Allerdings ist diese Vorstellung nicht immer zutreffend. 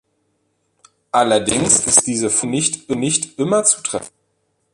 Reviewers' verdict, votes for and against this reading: rejected, 0, 2